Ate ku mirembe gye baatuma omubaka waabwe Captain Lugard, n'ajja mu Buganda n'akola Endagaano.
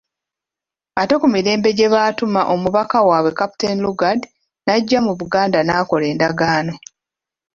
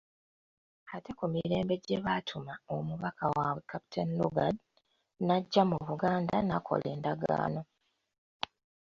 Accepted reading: second